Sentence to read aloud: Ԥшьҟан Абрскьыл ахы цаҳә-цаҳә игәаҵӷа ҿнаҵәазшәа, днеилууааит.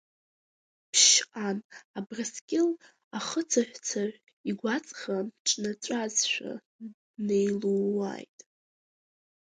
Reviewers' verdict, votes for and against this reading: rejected, 4, 7